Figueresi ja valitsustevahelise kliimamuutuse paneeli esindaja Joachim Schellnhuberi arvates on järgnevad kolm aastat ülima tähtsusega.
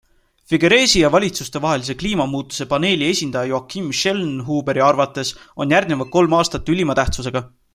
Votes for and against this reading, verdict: 2, 0, accepted